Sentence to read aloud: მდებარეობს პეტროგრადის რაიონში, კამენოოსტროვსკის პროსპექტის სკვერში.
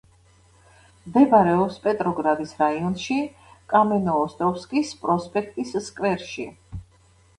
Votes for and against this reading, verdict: 2, 0, accepted